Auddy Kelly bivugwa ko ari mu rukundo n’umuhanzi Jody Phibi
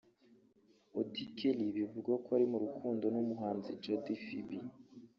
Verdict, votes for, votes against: rejected, 1, 2